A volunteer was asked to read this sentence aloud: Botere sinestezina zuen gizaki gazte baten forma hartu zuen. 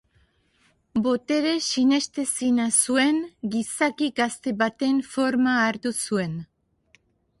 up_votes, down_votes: 5, 0